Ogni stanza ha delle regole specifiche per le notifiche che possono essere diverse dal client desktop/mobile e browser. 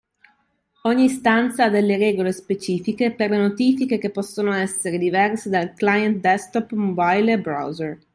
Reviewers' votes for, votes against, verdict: 3, 1, accepted